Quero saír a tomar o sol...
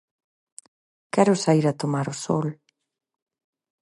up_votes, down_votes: 4, 0